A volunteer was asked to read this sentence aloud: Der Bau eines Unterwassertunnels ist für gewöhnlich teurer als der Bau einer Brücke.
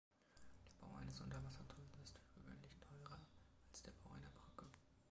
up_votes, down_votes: 0, 2